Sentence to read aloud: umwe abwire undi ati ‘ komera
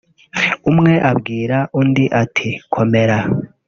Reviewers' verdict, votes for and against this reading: rejected, 1, 2